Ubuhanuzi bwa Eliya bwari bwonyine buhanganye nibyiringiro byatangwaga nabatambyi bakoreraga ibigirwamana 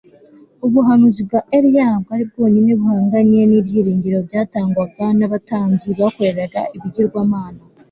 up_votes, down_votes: 2, 0